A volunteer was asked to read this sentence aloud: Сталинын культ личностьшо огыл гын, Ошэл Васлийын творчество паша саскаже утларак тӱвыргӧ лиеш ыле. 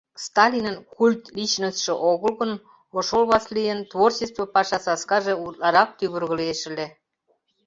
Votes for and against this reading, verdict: 1, 2, rejected